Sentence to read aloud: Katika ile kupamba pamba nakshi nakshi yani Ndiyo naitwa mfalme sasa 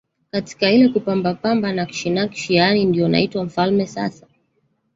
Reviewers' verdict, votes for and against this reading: rejected, 1, 2